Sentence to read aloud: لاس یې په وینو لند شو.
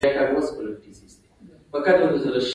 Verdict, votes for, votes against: accepted, 2, 0